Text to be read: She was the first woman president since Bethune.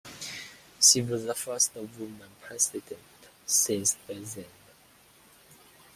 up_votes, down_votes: 1, 2